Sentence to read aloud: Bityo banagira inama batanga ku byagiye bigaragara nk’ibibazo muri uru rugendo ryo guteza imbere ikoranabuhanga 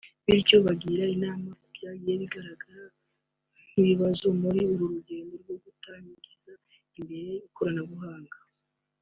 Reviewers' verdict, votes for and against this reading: rejected, 0, 2